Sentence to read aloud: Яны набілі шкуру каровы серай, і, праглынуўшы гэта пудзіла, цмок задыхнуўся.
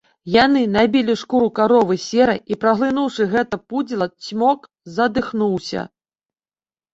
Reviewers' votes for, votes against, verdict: 1, 2, rejected